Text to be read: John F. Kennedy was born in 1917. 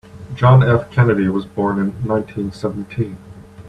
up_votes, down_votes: 0, 2